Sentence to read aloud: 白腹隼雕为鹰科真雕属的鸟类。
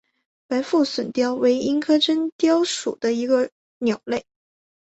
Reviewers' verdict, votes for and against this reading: accepted, 2, 0